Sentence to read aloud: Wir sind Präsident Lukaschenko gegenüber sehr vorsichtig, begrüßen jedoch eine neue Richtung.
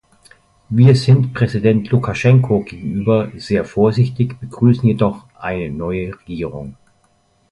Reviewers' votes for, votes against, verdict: 0, 2, rejected